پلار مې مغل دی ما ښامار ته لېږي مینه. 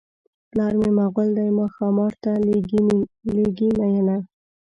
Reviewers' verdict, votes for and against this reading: rejected, 0, 2